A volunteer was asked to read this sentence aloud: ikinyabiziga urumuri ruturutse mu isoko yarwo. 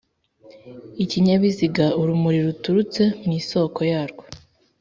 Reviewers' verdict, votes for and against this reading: accepted, 3, 0